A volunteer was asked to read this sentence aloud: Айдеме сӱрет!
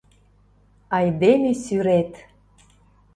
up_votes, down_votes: 2, 0